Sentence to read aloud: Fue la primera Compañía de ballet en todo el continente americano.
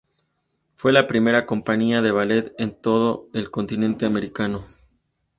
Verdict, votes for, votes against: accepted, 2, 0